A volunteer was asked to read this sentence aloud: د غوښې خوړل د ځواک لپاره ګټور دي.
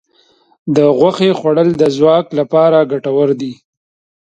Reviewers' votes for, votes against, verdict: 2, 0, accepted